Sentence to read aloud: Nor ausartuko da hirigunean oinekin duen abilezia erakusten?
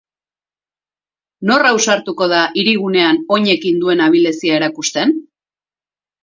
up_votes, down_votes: 4, 0